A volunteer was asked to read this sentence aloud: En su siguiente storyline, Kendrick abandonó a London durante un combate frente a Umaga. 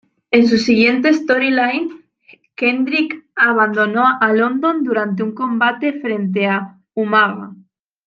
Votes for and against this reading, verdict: 2, 0, accepted